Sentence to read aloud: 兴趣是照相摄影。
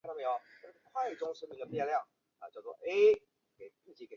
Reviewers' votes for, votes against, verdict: 0, 2, rejected